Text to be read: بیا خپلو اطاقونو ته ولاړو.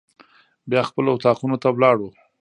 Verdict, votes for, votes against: rejected, 1, 2